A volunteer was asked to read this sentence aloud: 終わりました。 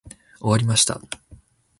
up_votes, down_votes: 2, 0